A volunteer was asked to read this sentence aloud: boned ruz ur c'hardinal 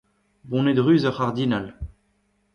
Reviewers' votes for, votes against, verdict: 2, 0, accepted